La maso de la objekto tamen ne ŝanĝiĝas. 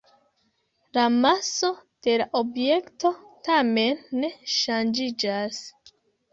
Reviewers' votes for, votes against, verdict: 2, 0, accepted